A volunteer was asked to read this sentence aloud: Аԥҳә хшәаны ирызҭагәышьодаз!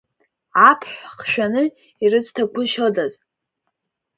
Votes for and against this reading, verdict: 2, 0, accepted